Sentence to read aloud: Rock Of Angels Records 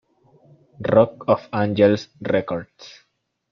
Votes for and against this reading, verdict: 1, 2, rejected